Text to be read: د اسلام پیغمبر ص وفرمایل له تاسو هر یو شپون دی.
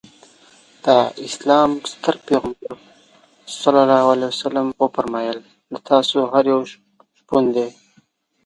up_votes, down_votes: 1, 2